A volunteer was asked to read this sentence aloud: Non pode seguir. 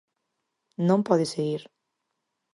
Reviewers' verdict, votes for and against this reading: accepted, 4, 0